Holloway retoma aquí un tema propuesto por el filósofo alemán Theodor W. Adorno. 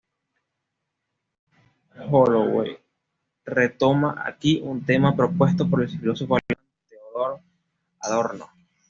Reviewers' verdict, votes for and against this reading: accepted, 2, 0